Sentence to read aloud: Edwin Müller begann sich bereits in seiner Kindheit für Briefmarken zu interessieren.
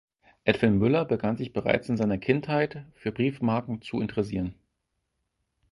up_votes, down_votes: 4, 0